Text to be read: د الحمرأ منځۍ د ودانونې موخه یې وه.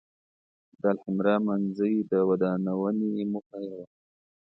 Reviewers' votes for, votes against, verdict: 0, 2, rejected